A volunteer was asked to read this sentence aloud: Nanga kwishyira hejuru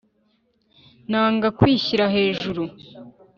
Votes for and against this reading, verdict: 3, 0, accepted